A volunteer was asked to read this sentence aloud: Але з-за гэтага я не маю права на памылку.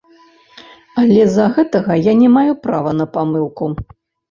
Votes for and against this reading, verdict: 0, 2, rejected